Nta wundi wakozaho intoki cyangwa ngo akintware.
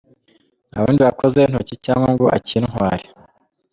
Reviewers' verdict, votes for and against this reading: accepted, 3, 0